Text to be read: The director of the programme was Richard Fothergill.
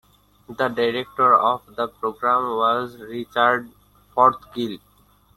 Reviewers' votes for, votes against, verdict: 0, 2, rejected